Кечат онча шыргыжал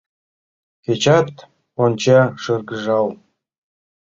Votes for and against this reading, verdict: 2, 0, accepted